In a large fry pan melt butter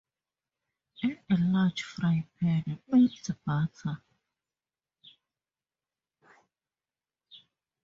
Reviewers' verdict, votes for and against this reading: rejected, 0, 2